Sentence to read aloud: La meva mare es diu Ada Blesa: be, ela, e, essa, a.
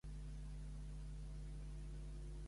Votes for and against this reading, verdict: 0, 2, rejected